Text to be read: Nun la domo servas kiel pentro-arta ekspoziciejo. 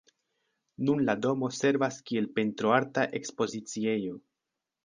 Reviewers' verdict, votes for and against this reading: accepted, 3, 0